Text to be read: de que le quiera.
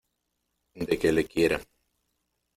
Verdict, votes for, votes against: accepted, 2, 0